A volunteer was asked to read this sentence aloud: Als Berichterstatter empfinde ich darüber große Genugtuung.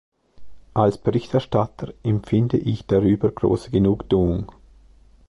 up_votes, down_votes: 2, 0